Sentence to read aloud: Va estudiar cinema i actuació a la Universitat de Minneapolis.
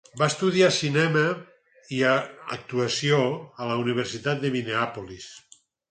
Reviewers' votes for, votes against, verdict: 0, 4, rejected